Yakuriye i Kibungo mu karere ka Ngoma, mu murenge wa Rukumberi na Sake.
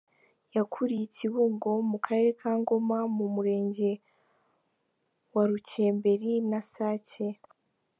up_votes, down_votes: 0, 3